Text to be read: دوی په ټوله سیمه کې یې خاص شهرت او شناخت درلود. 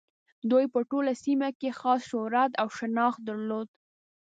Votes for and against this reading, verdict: 2, 1, accepted